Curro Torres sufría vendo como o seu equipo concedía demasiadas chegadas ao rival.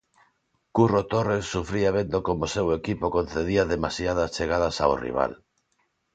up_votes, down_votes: 2, 0